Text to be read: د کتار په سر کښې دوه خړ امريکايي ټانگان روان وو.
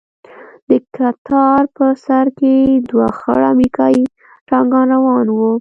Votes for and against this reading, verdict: 1, 2, rejected